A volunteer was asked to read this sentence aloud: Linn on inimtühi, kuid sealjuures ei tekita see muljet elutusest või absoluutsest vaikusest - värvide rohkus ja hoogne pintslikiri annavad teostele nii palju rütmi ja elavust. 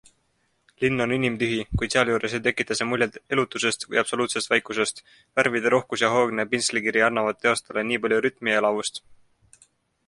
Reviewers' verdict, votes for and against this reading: accepted, 2, 0